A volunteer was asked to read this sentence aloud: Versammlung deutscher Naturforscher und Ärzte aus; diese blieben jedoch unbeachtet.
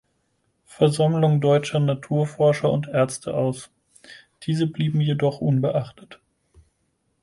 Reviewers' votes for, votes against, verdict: 4, 0, accepted